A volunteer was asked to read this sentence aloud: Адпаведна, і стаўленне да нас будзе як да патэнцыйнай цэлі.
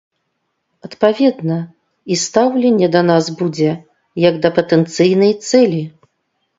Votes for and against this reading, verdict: 2, 0, accepted